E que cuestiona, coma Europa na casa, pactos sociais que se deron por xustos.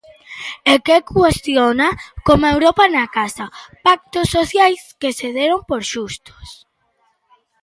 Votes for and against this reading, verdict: 2, 0, accepted